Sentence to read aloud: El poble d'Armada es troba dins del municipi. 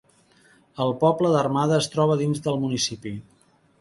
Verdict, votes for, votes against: accepted, 3, 0